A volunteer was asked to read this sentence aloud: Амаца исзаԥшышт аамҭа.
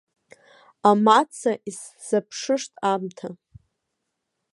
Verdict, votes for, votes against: accepted, 2, 0